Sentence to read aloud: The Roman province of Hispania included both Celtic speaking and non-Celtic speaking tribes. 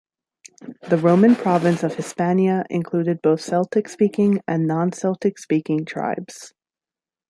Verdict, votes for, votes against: rejected, 1, 2